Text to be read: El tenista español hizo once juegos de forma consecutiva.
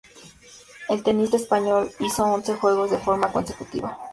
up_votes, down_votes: 2, 0